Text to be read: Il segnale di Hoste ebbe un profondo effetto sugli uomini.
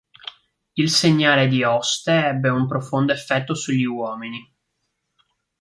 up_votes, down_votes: 3, 0